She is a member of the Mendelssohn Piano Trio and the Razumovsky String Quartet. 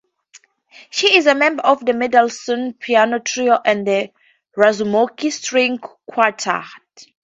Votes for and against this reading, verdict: 0, 2, rejected